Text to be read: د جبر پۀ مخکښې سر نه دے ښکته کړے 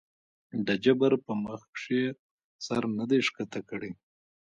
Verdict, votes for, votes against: accepted, 2, 1